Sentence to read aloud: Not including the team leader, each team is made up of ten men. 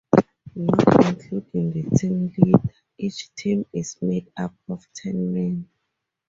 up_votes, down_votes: 0, 6